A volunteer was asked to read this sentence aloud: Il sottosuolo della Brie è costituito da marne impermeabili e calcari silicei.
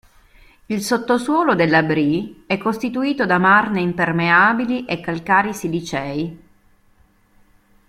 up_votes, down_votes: 1, 2